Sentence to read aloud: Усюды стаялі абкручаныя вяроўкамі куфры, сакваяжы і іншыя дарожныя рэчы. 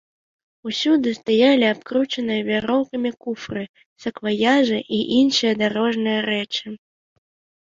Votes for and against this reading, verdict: 2, 1, accepted